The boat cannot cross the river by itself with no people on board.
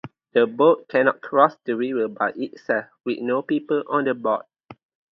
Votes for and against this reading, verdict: 4, 0, accepted